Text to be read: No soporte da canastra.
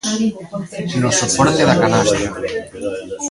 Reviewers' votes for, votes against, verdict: 0, 2, rejected